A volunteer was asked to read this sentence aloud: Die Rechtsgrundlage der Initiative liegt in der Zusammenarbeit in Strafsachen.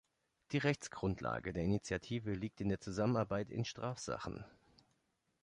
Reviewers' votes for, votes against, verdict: 2, 0, accepted